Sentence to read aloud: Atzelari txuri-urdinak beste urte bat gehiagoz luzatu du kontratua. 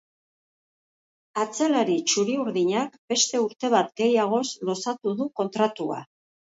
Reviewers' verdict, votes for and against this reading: accepted, 3, 2